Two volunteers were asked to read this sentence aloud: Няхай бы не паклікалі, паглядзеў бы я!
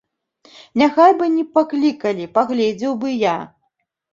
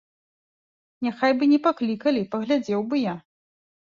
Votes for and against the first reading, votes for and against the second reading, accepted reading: 1, 2, 3, 0, second